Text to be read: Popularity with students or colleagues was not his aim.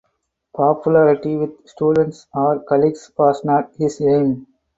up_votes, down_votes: 2, 2